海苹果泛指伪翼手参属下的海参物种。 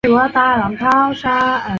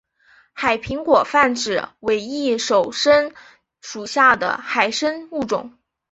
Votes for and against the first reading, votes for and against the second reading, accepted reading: 0, 4, 5, 0, second